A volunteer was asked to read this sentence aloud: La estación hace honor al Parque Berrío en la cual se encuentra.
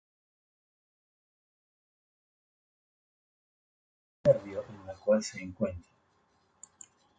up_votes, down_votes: 0, 4